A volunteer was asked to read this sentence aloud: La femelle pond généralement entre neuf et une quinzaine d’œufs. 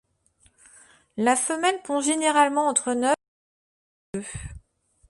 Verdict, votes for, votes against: rejected, 0, 2